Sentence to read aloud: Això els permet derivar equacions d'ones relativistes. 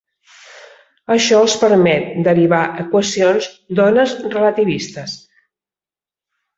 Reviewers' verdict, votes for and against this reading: accepted, 3, 0